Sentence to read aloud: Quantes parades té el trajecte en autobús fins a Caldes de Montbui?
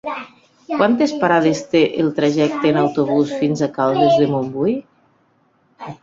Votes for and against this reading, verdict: 0, 3, rejected